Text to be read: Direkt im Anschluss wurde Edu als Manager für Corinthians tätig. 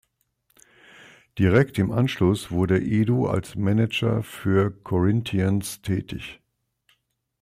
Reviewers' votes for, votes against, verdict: 2, 0, accepted